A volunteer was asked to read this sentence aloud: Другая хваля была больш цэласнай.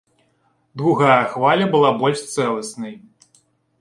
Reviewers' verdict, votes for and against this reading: accepted, 2, 0